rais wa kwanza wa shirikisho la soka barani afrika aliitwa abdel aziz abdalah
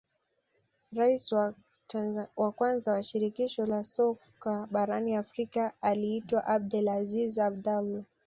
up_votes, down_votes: 1, 2